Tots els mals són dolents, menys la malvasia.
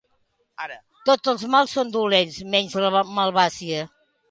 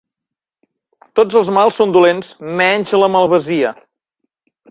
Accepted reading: second